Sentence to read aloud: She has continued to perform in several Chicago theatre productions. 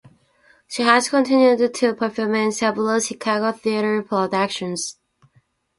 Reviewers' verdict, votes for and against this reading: accepted, 2, 0